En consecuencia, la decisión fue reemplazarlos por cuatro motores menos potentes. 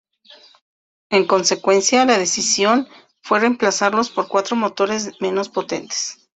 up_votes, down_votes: 2, 0